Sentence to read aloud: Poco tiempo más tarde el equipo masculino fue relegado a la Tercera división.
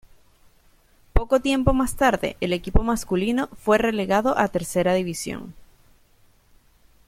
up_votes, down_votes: 1, 2